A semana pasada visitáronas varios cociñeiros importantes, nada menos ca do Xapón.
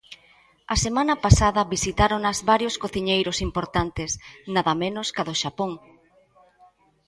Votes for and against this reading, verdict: 2, 0, accepted